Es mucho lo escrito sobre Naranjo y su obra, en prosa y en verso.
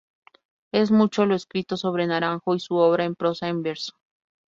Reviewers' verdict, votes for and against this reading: rejected, 0, 2